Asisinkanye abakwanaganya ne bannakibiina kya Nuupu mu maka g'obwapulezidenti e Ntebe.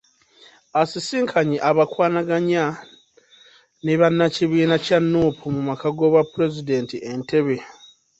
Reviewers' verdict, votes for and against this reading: rejected, 0, 2